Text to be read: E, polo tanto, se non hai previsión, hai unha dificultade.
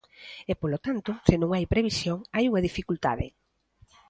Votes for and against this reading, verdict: 2, 0, accepted